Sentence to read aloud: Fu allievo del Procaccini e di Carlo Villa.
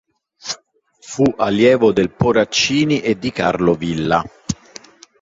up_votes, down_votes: 1, 2